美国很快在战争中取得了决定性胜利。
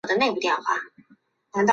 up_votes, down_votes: 0, 2